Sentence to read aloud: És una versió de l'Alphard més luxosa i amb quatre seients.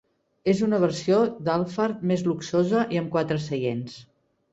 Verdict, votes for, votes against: rejected, 1, 2